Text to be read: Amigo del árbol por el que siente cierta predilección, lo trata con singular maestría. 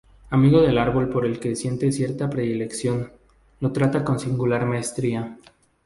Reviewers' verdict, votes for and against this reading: accepted, 2, 0